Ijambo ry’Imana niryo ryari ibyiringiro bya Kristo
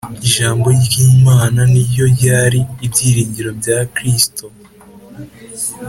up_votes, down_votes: 3, 0